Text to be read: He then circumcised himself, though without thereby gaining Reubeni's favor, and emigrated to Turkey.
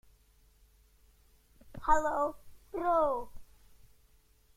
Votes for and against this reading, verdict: 0, 2, rejected